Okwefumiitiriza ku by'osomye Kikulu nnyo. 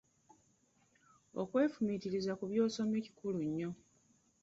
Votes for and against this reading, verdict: 2, 1, accepted